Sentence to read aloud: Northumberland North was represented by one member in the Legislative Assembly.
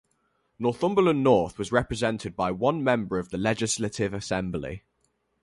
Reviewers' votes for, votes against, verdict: 2, 2, rejected